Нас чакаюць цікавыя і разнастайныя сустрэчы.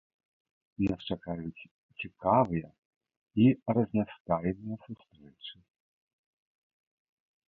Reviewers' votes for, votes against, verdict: 1, 2, rejected